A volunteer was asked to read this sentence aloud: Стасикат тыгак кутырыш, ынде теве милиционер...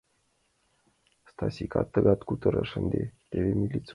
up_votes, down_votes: 0, 2